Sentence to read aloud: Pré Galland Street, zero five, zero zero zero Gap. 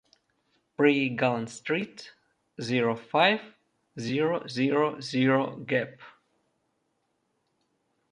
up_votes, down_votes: 2, 0